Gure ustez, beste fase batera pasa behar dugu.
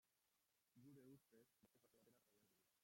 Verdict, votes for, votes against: rejected, 0, 2